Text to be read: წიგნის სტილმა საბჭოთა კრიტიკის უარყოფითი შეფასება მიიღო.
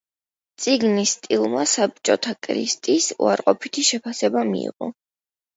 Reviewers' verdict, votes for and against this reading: rejected, 0, 2